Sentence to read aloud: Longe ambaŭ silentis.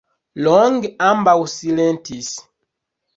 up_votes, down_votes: 1, 2